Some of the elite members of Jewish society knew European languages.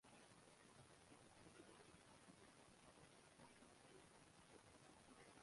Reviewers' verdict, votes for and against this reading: rejected, 0, 2